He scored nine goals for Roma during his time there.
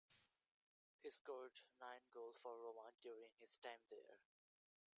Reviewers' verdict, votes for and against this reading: rejected, 1, 2